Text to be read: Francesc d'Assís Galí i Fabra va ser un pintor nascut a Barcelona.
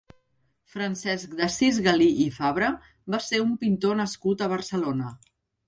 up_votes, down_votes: 2, 0